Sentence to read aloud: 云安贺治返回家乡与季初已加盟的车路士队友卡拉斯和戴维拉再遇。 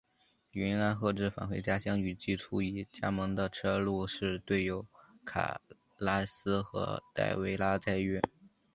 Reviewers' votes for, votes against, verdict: 2, 0, accepted